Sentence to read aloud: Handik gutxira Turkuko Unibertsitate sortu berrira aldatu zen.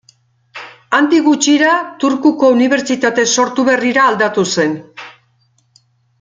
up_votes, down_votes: 2, 0